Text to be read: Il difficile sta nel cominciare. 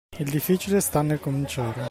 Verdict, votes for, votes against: accepted, 2, 0